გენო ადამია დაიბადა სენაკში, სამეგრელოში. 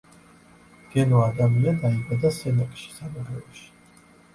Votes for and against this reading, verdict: 2, 0, accepted